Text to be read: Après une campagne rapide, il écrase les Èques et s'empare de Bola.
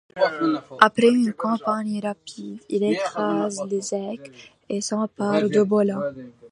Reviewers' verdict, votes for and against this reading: accepted, 2, 0